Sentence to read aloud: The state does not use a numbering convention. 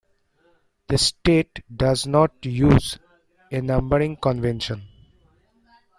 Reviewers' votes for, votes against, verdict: 2, 0, accepted